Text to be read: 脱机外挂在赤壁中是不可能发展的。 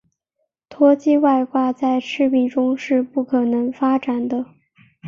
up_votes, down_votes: 4, 2